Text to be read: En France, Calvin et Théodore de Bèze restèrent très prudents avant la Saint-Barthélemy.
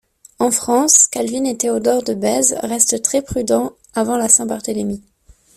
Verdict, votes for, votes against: rejected, 1, 2